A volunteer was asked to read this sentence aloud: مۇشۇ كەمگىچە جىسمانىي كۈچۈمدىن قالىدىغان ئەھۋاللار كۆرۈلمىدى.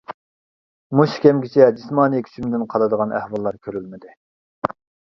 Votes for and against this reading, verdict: 2, 0, accepted